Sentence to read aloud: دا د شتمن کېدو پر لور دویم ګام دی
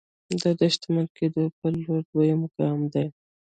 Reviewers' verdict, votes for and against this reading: rejected, 1, 2